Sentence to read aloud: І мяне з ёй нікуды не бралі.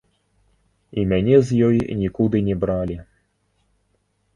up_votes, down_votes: 0, 2